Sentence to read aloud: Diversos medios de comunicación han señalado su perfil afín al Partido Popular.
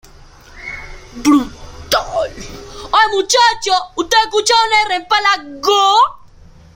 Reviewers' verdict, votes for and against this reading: rejected, 0, 2